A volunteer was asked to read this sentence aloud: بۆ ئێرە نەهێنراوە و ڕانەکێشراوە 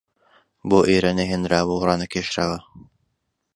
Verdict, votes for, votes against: accepted, 2, 0